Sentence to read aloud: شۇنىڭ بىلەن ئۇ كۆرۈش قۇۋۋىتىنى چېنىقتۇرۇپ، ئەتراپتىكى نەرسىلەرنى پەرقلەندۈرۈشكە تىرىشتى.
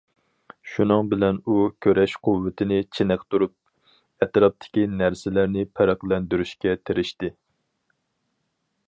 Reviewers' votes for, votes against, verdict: 2, 2, rejected